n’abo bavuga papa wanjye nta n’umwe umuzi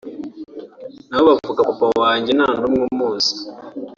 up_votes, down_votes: 2, 0